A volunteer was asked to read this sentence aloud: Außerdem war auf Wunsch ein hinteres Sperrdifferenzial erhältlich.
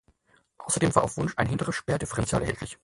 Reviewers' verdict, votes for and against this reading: rejected, 0, 6